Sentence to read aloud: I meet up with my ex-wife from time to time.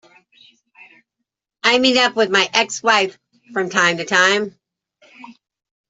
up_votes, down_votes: 2, 1